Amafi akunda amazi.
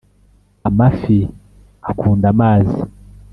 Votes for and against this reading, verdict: 2, 0, accepted